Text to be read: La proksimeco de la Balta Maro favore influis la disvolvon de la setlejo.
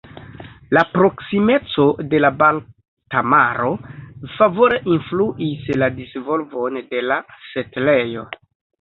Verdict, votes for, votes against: accepted, 2, 0